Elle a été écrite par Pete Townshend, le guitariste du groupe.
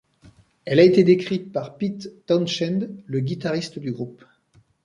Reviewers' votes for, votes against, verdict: 0, 2, rejected